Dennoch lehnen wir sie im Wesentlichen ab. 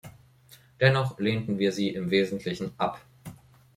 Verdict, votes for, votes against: rejected, 1, 2